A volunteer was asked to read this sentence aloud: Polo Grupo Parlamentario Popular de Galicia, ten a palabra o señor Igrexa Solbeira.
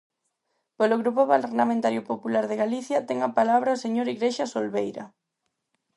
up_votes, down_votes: 4, 0